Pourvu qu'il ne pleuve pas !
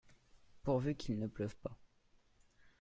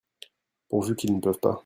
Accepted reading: first